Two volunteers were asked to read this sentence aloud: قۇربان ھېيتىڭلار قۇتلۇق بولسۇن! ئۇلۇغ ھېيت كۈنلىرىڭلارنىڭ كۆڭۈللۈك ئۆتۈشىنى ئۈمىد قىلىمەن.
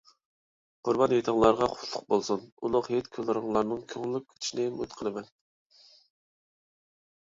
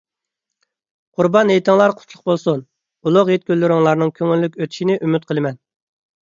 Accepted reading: second